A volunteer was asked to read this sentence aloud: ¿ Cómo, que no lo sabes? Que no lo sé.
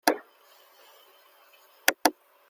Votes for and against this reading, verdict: 0, 2, rejected